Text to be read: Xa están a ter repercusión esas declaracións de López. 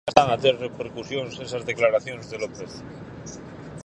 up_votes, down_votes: 0, 4